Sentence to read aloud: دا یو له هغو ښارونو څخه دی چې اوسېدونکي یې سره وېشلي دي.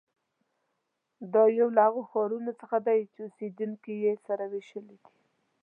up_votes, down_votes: 2, 0